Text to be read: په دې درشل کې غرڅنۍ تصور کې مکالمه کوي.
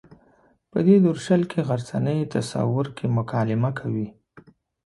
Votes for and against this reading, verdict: 2, 0, accepted